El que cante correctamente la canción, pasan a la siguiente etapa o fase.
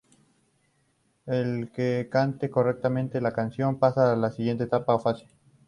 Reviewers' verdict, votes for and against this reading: accepted, 4, 0